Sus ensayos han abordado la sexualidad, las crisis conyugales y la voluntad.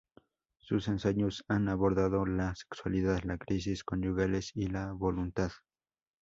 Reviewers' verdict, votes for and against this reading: rejected, 0, 2